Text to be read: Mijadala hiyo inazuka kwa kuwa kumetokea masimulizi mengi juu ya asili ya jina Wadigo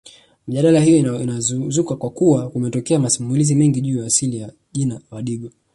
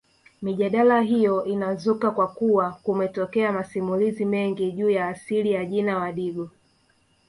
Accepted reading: second